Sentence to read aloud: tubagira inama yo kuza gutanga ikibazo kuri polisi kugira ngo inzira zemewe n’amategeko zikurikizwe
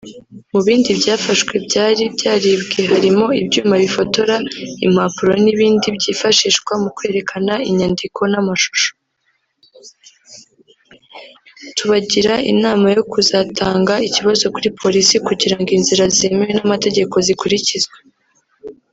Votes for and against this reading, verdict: 1, 2, rejected